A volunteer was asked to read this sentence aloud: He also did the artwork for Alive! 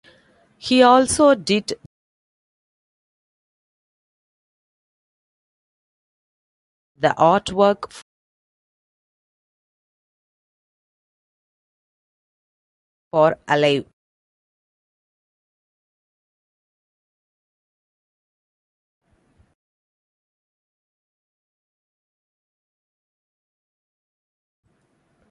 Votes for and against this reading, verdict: 0, 2, rejected